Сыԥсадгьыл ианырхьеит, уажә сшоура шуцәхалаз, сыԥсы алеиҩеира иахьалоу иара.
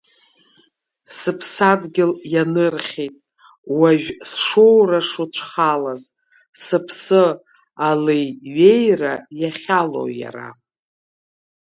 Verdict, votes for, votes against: accepted, 2, 1